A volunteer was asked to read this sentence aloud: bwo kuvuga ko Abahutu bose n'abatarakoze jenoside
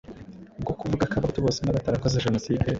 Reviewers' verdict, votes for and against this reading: rejected, 1, 2